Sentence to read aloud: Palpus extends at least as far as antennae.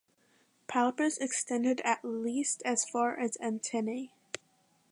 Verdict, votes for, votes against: rejected, 1, 2